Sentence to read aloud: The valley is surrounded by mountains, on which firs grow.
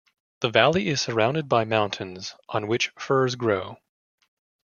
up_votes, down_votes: 2, 0